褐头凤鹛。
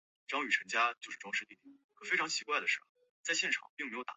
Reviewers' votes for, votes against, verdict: 0, 2, rejected